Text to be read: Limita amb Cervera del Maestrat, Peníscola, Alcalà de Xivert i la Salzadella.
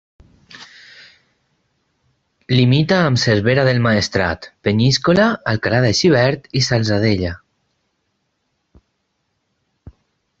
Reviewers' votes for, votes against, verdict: 0, 4, rejected